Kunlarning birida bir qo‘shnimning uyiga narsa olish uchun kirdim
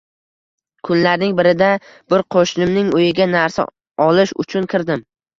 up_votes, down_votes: 2, 0